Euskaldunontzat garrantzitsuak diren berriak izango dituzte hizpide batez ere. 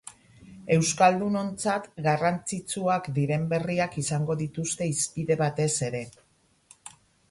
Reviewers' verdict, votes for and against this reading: accepted, 10, 6